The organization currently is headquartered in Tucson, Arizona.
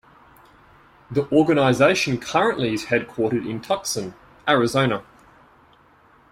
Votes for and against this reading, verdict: 0, 2, rejected